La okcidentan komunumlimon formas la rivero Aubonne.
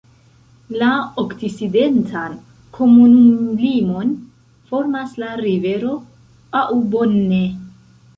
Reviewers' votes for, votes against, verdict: 0, 2, rejected